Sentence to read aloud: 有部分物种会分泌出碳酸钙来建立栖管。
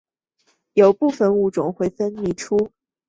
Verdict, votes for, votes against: accepted, 2, 0